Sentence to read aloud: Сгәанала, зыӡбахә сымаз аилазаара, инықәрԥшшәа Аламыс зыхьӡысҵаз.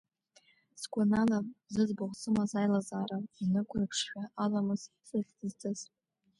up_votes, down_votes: 2, 0